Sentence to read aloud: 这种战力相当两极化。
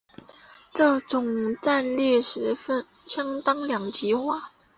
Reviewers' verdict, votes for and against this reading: rejected, 1, 2